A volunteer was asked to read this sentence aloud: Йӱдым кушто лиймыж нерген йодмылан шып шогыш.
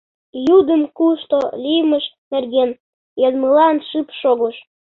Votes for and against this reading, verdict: 1, 2, rejected